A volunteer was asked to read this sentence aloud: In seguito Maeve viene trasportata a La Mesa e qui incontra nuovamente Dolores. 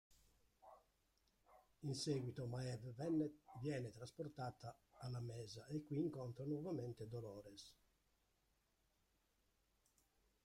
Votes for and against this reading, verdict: 0, 2, rejected